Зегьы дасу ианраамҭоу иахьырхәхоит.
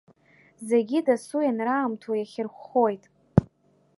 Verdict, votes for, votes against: accepted, 2, 0